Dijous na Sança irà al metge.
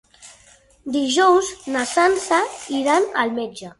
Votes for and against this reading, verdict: 2, 4, rejected